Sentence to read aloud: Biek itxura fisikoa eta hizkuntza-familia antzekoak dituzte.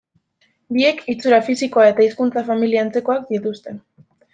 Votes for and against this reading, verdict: 2, 0, accepted